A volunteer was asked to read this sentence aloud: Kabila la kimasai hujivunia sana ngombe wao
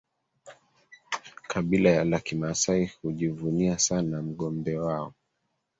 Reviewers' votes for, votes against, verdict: 1, 2, rejected